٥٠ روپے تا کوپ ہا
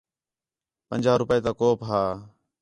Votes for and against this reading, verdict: 0, 2, rejected